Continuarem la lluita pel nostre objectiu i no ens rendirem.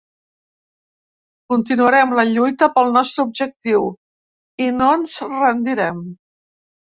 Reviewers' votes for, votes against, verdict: 3, 0, accepted